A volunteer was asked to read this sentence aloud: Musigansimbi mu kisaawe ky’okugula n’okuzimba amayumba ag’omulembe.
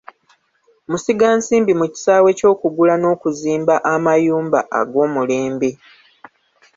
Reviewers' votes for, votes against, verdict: 1, 2, rejected